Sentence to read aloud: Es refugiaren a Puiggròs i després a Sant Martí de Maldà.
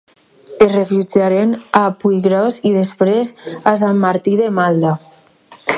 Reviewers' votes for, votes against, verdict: 0, 2, rejected